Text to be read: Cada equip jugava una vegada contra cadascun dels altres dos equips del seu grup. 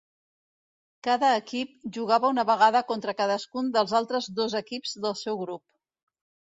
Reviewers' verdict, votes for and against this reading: accepted, 2, 0